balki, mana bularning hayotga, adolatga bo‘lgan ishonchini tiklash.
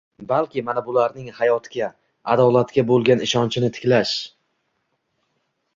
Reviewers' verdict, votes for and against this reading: rejected, 1, 2